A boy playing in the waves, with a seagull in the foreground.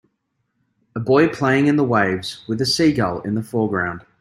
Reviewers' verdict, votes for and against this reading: accepted, 2, 0